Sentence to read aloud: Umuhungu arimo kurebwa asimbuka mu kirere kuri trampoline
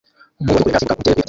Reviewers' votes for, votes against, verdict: 0, 2, rejected